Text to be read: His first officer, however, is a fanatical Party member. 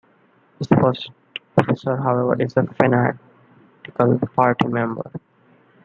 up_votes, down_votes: 2, 1